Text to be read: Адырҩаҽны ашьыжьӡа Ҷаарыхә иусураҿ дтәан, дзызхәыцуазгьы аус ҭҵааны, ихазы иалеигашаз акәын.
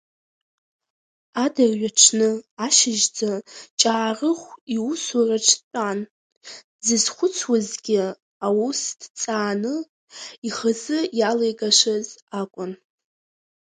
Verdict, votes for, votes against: rejected, 1, 2